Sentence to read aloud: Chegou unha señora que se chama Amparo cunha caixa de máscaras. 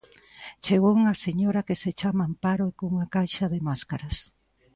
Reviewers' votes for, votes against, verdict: 2, 0, accepted